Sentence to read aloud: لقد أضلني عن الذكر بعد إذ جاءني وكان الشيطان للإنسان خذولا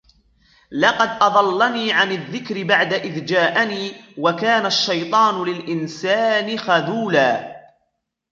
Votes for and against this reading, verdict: 2, 1, accepted